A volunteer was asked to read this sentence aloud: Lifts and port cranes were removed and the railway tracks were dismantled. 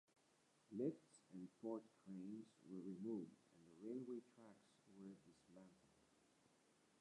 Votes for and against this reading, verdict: 0, 2, rejected